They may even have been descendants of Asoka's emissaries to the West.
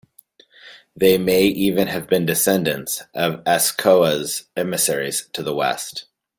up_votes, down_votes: 1, 2